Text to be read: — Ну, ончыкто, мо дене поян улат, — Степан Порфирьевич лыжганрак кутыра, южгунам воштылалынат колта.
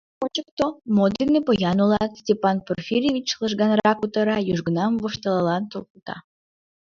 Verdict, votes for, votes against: rejected, 1, 2